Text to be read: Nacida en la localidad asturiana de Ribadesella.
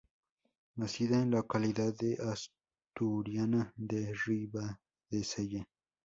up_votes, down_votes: 0, 2